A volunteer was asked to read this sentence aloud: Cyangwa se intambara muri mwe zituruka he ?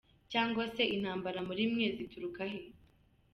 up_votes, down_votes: 0, 2